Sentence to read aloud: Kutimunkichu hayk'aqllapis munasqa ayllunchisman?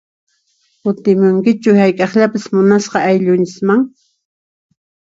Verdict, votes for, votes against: accepted, 2, 0